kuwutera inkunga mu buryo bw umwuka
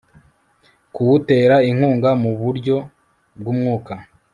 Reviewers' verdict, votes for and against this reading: accepted, 2, 0